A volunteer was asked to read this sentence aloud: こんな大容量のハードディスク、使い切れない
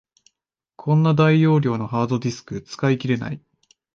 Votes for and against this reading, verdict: 2, 0, accepted